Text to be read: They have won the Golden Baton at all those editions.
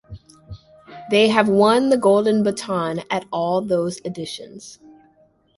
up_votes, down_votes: 2, 0